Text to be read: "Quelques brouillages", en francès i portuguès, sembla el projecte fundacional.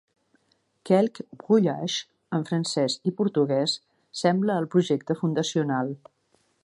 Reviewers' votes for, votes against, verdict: 1, 2, rejected